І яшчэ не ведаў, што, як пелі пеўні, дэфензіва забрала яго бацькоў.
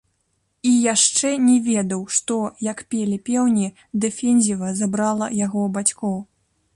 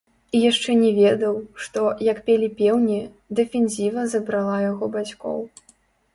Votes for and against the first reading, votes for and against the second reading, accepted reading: 3, 0, 1, 2, first